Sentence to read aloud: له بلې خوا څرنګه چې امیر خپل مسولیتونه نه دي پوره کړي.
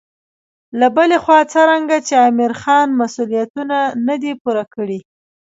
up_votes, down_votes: 1, 2